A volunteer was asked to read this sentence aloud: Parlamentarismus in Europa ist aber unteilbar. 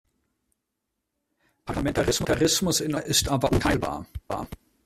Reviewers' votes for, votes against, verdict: 0, 2, rejected